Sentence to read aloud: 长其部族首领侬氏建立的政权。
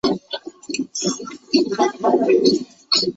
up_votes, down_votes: 0, 3